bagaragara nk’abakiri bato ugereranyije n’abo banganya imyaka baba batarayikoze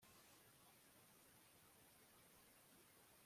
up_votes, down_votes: 0, 2